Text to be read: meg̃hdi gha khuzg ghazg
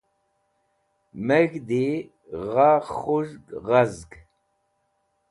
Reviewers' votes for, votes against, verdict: 2, 0, accepted